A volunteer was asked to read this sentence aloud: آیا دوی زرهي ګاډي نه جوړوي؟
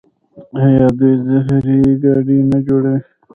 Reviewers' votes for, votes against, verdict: 1, 2, rejected